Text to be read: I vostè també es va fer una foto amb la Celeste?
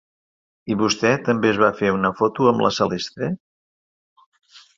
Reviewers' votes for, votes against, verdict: 2, 0, accepted